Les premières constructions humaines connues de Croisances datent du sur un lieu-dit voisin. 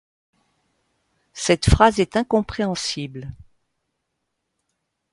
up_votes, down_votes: 1, 2